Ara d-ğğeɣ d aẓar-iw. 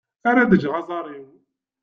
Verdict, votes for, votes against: accepted, 2, 1